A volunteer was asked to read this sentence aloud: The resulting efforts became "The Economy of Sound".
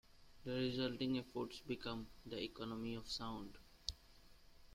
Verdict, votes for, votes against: rejected, 0, 2